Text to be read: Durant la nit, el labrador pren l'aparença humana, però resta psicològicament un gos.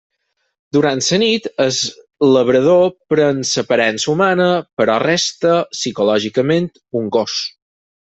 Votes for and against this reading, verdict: 2, 4, rejected